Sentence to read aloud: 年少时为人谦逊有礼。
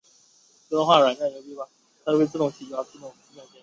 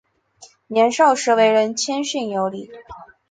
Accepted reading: second